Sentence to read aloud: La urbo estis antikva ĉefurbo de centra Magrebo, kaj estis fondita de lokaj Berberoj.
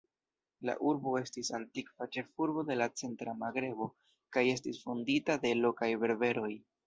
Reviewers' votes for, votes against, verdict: 0, 2, rejected